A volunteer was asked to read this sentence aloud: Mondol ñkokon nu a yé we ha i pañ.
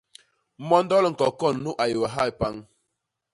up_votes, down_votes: 1, 2